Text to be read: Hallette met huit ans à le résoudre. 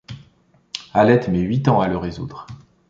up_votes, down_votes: 2, 0